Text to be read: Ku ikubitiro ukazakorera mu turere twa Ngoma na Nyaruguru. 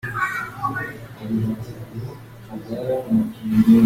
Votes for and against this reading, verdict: 0, 2, rejected